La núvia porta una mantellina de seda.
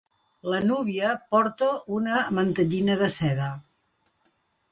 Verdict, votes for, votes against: accepted, 2, 0